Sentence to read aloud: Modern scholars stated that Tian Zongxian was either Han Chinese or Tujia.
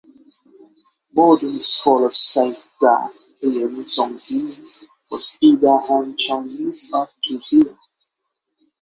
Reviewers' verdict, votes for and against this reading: rejected, 3, 3